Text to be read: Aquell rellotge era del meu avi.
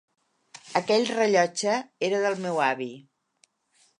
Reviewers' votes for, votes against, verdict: 3, 0, accepted